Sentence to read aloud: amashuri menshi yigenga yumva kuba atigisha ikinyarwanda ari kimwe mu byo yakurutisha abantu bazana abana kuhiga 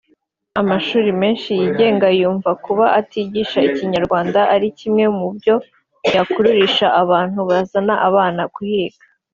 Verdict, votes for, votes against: accepted, 2, 1